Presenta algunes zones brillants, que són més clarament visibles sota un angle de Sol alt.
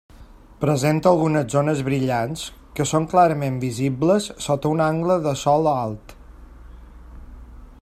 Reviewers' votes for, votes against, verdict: 0, 2, rejected